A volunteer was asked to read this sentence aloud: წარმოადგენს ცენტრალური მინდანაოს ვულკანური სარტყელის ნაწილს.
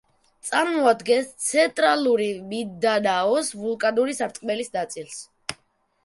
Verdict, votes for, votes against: rejected, 0, 2